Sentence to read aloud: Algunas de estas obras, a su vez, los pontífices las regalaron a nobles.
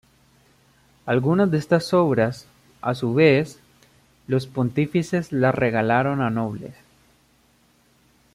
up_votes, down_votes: 2, 0